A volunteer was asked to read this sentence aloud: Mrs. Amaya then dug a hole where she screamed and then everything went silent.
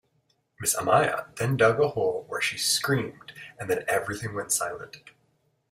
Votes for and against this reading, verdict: 2, 0, accepted